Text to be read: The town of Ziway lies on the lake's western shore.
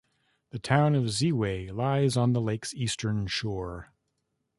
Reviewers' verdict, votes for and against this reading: rejected, 0, 2